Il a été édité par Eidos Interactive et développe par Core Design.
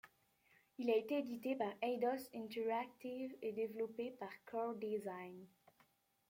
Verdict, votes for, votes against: rejected, 1, 2